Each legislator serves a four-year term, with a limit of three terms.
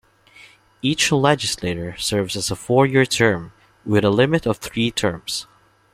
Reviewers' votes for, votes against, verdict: 1, 2, rejected